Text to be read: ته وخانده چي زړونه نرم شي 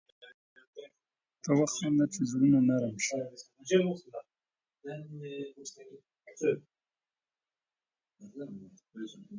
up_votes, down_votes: 1, 2